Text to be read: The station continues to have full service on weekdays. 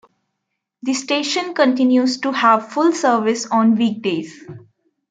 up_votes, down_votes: 2, 0